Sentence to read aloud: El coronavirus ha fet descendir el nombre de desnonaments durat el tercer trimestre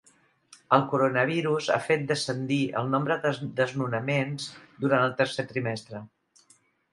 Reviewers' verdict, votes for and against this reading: rejected, 1, 2